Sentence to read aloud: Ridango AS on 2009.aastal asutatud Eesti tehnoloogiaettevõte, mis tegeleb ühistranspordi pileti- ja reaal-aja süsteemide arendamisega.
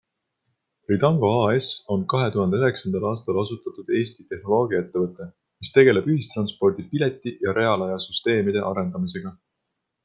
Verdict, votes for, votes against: rejected, 0, 2